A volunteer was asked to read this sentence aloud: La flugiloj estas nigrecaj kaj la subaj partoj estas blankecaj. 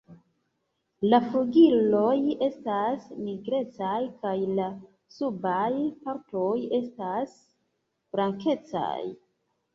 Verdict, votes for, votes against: accepted, 2, 0